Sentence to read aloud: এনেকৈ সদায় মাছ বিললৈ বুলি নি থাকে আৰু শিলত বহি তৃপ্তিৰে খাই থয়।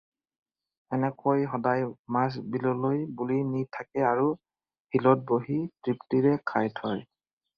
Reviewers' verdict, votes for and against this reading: accepted, 4, 0